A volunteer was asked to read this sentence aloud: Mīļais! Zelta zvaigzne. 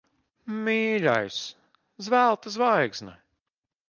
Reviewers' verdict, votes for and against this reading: rejected, 0, 2